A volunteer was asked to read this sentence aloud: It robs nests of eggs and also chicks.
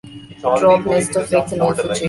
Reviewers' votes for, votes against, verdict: 1, 2, rejected